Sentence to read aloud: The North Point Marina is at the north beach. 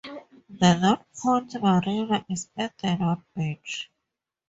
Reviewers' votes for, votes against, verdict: 2, 0, accepted